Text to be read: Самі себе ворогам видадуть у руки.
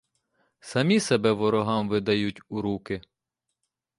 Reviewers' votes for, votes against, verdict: 0, 2, rejected